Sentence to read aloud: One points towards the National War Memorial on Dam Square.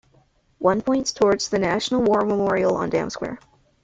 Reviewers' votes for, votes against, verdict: 0, 2, rejected